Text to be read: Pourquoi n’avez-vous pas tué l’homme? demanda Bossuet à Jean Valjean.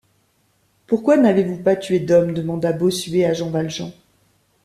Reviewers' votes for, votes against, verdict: 1, 2, rejected